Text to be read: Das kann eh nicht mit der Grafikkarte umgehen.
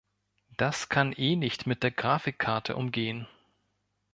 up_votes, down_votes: 2, 0